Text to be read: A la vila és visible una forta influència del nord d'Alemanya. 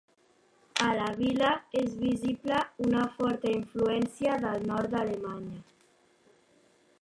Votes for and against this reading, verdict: 3, 1, accepted